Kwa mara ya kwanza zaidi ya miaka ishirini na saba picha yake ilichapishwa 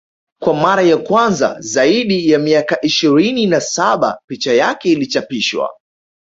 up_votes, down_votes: 2, 1